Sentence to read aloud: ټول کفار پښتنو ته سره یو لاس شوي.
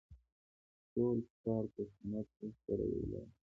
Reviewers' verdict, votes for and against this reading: accepted, 2, 0